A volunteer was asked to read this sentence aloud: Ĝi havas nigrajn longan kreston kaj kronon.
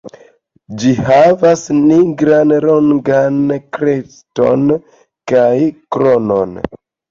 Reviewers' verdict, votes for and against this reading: accepted, 2, 0